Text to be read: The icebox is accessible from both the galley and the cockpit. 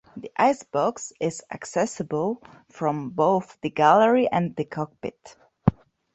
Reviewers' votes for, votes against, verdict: 0, 2, rejected